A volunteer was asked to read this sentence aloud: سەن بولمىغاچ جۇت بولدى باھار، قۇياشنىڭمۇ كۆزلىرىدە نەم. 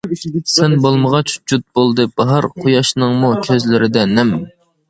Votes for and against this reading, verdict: 2, 0, accepted